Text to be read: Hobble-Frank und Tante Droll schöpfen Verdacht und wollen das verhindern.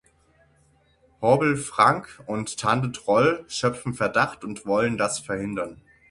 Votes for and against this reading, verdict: 6, 3, accepted